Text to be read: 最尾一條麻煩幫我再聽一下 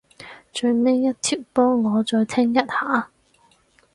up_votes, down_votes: 0, 4